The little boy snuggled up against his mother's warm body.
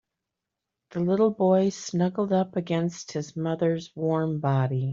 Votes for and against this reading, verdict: 3, 0, accepted